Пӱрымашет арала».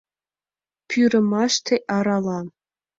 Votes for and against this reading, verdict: 1, 2, rejected